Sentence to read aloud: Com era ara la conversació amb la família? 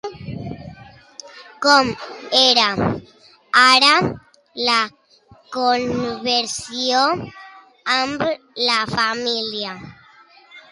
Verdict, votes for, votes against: rejected, 0, 2